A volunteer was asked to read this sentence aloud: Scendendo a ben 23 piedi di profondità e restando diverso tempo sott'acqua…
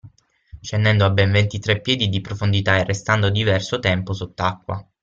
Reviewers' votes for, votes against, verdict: 0, 2, rejected